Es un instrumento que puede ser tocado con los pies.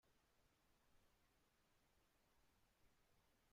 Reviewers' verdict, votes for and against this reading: rejected, 1, 2